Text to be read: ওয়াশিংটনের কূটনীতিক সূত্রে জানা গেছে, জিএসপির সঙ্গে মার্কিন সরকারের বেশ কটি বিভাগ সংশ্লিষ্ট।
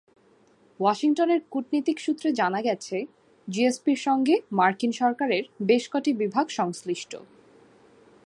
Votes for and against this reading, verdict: 2, 0, accepted